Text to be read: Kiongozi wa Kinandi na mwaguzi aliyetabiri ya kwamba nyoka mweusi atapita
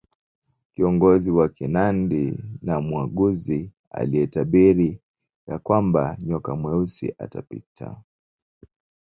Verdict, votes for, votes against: rejected, 1, 2